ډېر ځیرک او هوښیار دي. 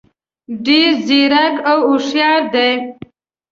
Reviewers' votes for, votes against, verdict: 2, 0, accepted